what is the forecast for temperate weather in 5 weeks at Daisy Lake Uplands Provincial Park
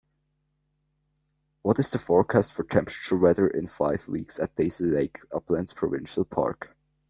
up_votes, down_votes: 0, 2